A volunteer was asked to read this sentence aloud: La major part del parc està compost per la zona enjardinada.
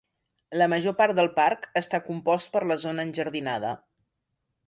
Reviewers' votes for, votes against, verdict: 2, 0, accepted